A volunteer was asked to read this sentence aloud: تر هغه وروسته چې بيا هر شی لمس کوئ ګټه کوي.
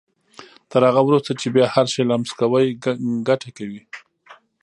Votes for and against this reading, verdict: 0, 2, rejected